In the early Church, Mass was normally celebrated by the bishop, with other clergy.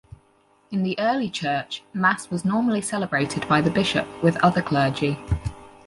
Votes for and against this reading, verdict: 4, 2, accepted